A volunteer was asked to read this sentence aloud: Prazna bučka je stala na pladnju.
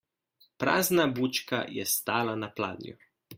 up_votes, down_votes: 2, 0